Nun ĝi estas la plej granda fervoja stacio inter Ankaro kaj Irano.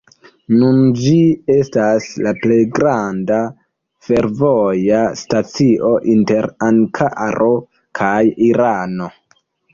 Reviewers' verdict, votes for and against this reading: accepted, 2, 1